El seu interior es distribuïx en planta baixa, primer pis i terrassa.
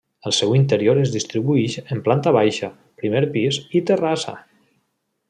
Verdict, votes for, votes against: accepted, 2, 0